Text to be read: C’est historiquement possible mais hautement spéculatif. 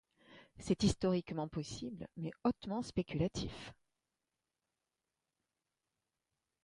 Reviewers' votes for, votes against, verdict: 2, 1, accepted